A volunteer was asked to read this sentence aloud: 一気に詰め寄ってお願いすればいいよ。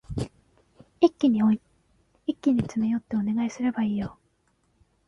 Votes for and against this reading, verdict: 0, 2, rejected